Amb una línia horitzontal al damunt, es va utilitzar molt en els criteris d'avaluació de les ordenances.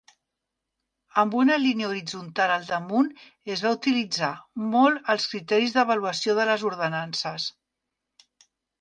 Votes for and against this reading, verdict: 0, 2, rejected